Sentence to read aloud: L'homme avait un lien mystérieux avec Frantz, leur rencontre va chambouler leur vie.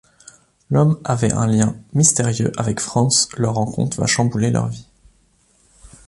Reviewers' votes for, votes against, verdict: 2, 0, accepted